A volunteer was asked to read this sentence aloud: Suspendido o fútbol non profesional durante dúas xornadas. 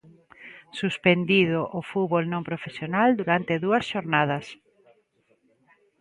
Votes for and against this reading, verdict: 2, 0, accepted